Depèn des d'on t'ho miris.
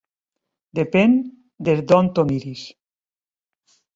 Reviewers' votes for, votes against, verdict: 2, 0, accepted